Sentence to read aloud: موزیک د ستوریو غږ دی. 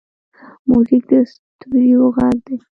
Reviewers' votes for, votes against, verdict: 2, 0, accepted